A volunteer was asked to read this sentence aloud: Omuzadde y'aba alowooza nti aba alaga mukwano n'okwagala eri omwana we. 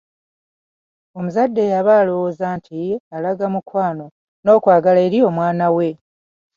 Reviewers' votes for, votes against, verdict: 1, 2, rejected